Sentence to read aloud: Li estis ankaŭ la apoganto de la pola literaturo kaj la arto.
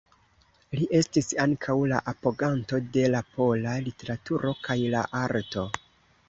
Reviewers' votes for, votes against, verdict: 2, 1, accepted